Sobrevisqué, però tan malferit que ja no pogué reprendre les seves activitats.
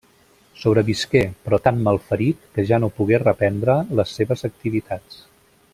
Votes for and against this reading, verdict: 2, 0, accepted